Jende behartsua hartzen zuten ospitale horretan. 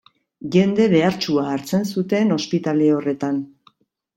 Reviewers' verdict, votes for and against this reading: accepted, 2, 1